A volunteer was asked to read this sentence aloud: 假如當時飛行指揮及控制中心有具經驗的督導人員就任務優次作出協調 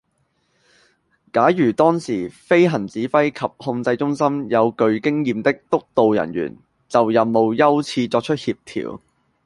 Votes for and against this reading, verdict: 2, 0, accepted